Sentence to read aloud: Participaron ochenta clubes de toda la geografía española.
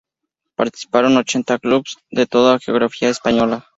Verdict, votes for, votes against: rejected, 0, 2